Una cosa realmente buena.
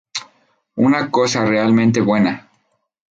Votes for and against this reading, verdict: 2, 0, accepted